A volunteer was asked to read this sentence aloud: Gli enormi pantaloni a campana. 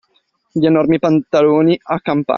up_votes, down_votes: 0, 2